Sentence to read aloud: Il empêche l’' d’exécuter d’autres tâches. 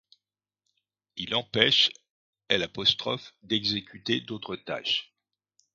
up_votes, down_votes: 1, 2